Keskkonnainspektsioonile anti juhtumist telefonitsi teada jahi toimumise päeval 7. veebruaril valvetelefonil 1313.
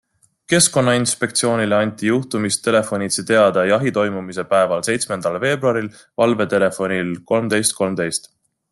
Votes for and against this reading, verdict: 0, 2, rejected